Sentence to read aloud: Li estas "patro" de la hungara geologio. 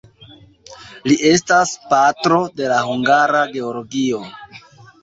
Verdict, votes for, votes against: accepted, 2, 0